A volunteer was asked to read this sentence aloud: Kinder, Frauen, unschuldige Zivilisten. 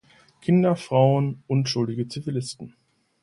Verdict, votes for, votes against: accepted, 2, 0